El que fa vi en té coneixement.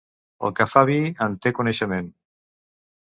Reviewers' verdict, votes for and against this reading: accepted, 2, 0